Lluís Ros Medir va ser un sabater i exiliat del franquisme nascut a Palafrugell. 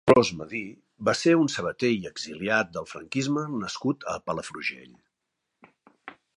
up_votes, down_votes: 0, 2